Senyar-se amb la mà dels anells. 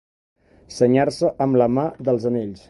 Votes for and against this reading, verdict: 3, 0, accepted